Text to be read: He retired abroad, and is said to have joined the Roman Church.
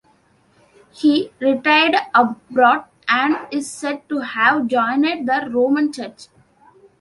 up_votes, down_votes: 0, 2